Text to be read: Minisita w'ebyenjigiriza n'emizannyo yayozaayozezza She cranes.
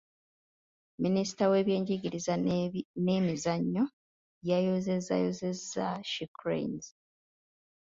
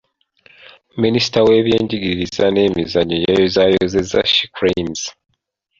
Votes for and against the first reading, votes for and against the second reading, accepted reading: 1, 2, 2, 1, second